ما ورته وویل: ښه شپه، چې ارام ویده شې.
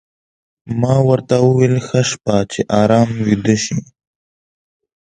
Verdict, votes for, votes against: accepted, 2, 0